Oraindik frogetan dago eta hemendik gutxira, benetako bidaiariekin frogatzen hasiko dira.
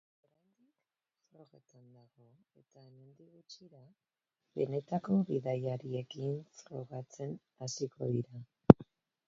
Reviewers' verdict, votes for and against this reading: rejected, 0, 2